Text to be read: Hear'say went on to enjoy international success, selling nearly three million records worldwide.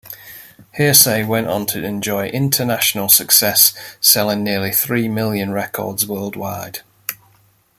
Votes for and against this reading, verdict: 2, 0, accepted